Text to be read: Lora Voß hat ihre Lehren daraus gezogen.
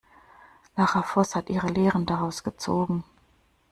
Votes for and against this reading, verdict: 0, 2, rejected